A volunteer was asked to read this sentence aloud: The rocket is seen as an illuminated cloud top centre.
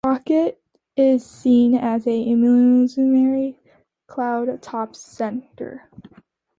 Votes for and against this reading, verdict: 0, 2, rejected